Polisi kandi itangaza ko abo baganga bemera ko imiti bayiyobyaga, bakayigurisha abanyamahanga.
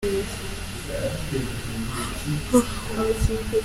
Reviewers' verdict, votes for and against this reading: rejected, 0, 2